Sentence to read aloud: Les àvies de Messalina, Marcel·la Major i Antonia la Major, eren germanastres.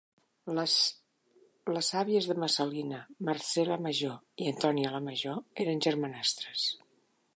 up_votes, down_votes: 0, 2